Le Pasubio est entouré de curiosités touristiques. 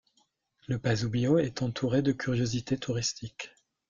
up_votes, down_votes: 3, 1